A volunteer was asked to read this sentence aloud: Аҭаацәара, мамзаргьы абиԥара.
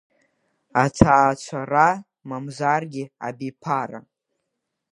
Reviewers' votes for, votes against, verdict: 0, 2, rejected